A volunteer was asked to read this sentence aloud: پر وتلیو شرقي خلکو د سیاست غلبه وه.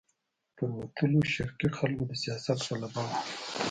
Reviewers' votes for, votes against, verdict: 0, 2, rejected